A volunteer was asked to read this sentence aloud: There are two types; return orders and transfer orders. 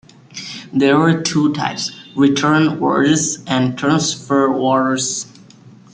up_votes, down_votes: 2, 0